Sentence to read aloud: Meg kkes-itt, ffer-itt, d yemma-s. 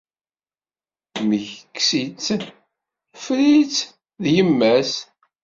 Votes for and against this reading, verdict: 2, 1, accepted